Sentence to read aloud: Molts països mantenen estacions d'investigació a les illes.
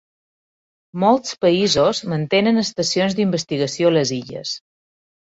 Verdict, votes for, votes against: accepted, 2, 0